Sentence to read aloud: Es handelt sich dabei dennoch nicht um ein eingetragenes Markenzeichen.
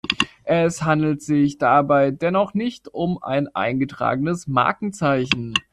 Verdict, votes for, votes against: accepted, 2, 1